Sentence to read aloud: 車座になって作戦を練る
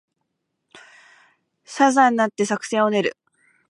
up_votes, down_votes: 2, 0